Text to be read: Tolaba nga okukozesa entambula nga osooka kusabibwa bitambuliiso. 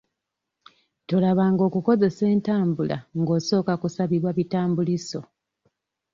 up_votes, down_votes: 2, 0